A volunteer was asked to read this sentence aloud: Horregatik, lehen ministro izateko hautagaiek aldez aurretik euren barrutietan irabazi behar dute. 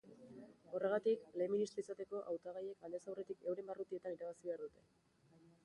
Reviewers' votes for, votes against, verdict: 0, 2, rejected